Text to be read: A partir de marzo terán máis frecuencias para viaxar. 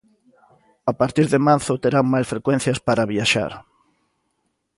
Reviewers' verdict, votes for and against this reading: accepted, 2, 0